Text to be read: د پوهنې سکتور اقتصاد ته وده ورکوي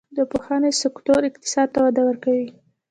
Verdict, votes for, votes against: accepted, 2, 1